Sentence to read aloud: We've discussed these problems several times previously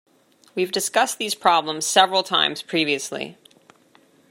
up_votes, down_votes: 2, 0